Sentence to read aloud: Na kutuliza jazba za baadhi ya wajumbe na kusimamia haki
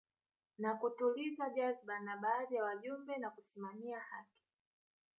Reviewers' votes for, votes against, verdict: 1, 2, rejected